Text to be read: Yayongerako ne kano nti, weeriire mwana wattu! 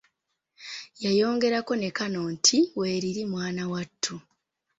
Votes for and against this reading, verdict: 2, 1, accepted